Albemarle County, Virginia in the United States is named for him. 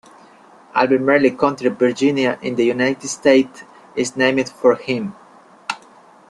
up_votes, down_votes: 1, 2